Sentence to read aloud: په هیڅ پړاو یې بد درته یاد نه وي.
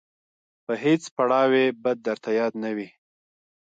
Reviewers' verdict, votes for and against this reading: rejected, 0, 3